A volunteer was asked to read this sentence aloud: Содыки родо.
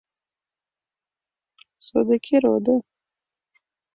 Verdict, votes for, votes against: accepted, 2, 0